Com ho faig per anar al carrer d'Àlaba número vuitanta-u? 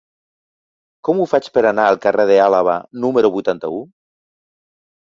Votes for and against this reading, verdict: 2, 3, rejected